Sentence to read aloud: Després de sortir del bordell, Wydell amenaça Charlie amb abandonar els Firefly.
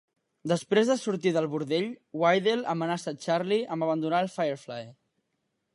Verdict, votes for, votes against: accepted, 2, 0